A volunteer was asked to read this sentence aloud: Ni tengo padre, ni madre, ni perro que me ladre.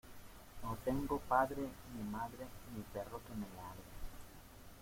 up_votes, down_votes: 0, 2